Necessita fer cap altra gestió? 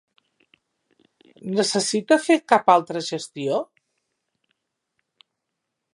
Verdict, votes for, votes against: rejected, 0, 2